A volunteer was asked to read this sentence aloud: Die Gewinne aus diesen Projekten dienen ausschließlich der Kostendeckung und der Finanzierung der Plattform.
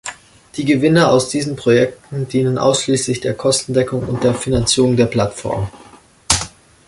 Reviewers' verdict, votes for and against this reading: accepted, 2, 0